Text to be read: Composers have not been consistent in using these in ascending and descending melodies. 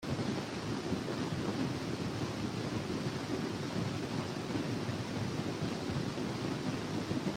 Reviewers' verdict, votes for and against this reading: rejected, 0, 2